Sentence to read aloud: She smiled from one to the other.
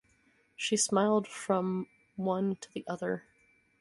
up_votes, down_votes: 2, 2